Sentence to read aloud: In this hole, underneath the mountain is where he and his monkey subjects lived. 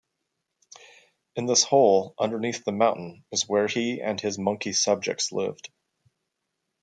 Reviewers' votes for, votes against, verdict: 3, 0, accepted